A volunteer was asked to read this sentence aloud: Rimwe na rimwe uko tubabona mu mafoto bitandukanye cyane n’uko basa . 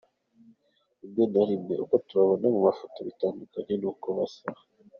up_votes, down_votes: 2, 0